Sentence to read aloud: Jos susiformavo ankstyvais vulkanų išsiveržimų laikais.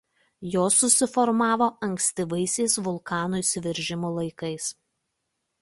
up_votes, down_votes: 1, 2